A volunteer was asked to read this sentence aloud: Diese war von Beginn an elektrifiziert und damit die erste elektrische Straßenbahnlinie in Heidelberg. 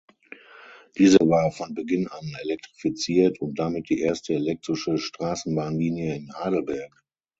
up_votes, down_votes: 6, 0